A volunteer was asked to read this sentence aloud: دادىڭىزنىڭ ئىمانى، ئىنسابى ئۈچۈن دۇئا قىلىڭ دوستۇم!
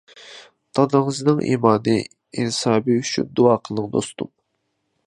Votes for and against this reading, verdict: 2, 0, accepted